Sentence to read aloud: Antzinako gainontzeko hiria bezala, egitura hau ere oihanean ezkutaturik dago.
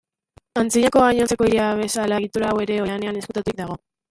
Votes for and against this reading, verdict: 0, 2, rejected